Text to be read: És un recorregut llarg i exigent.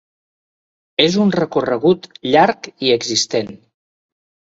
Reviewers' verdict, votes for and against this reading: rejected, 0, 3